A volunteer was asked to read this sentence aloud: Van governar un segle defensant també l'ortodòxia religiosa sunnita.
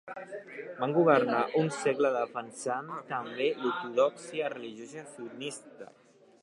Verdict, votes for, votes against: rejected, 0, 2